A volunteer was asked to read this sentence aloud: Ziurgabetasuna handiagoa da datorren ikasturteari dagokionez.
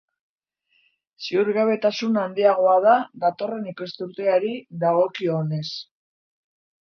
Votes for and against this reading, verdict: 2, 0, accepted